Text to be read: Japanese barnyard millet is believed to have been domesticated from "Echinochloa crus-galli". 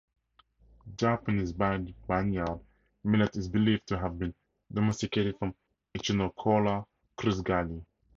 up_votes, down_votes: 0, 2